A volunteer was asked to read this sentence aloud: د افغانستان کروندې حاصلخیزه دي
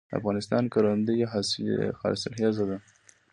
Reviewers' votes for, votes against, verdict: 2, 0, accepted